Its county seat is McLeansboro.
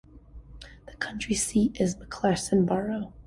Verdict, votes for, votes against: rejected, 1, 2